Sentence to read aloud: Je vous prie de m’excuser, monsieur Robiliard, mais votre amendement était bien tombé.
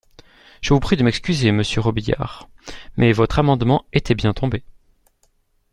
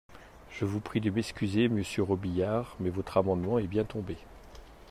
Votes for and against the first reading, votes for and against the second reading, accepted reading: 2, 0, 0, 2, first